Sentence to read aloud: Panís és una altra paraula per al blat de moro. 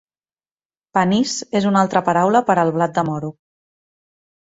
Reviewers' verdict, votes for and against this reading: accepted, 4, 0